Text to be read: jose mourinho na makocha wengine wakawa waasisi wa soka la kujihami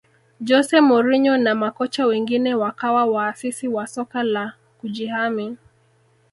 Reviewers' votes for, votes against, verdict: 1, 2, rejected